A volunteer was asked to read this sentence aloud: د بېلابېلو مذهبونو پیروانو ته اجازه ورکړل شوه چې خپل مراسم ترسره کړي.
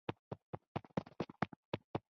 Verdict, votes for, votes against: accepted, 2, 1